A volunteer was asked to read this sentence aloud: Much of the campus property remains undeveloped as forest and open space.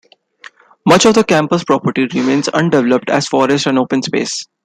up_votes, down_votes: 1, 2